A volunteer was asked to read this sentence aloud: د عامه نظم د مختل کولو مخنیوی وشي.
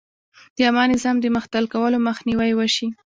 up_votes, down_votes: 2, 1